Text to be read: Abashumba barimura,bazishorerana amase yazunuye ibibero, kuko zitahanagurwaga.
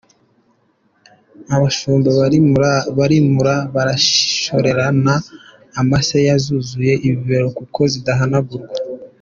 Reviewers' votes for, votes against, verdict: 0, 2, rejected